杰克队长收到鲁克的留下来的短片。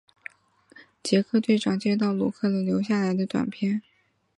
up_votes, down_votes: 5, 6